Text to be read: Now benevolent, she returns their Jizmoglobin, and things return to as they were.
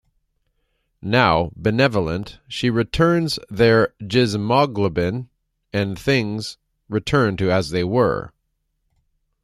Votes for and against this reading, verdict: 2, 0, accepted